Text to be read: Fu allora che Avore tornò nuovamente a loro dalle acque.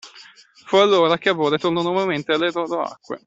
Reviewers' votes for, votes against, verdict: 0, 2, rejected